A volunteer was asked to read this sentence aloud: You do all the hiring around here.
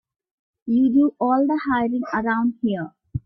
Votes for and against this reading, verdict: 0, 2, rejected